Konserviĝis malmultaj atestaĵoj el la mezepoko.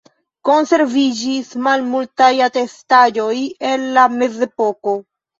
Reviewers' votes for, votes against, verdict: 0, 2, rejected